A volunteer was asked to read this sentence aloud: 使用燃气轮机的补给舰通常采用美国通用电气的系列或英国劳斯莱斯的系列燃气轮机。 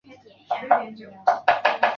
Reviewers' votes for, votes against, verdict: 0, 2, rejected